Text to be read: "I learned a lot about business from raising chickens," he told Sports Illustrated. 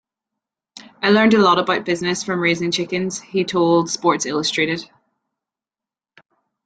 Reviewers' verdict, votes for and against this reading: accepted, 2, 0